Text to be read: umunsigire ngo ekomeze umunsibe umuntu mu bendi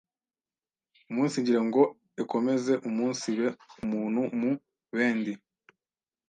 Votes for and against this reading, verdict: 1, 2, rejected